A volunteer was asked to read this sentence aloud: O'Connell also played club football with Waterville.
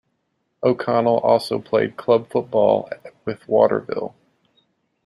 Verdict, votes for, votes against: rejected, 1, 2